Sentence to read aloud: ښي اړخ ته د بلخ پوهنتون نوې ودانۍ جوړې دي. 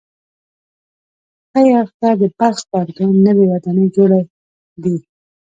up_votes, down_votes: 0, 2